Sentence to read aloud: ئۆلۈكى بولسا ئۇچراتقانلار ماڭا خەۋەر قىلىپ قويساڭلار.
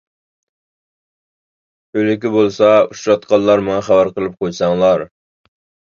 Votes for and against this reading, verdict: 2, 0, accepted